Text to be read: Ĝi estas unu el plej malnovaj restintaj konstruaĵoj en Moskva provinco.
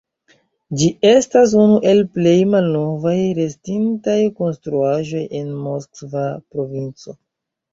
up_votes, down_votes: 1, 2